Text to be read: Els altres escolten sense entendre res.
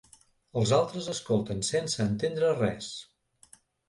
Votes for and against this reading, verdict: 2, 0, accepted